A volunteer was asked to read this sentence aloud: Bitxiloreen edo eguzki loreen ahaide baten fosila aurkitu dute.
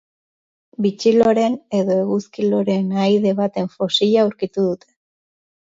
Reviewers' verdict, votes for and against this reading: accepted, 2, 0